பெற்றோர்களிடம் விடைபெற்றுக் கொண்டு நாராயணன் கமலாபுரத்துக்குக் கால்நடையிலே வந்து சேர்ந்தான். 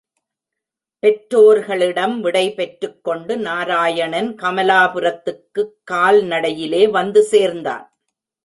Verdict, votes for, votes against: accepted, 2, 0